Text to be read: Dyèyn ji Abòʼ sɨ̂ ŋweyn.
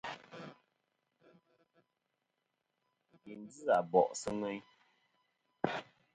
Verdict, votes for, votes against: rejected, 1, 2